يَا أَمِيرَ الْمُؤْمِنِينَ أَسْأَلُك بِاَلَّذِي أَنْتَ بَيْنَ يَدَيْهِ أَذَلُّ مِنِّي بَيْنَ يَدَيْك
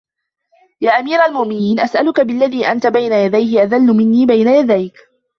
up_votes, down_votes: 2, 0